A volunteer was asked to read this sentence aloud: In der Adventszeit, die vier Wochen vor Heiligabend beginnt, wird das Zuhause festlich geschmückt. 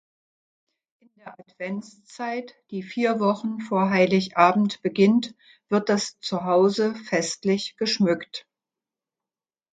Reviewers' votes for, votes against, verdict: 0, 2, rejected